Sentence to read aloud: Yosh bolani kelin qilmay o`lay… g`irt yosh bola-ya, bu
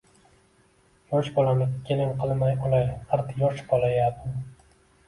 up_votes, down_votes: 0, 2